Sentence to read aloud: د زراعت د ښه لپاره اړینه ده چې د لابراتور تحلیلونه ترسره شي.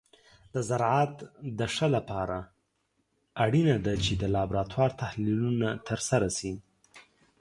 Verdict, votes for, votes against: accepted, 2, 0